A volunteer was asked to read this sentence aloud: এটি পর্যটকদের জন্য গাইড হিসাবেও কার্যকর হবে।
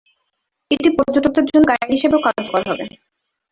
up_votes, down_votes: 2, 0